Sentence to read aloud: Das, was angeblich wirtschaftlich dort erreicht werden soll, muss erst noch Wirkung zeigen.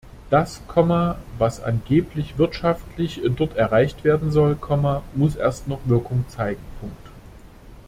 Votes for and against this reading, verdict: 0, 2, rejected